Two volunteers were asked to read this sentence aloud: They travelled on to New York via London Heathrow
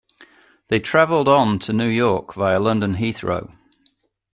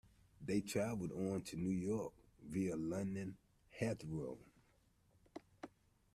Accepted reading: first